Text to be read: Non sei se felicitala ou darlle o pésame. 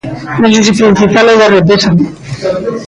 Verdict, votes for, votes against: rejected, 0, 2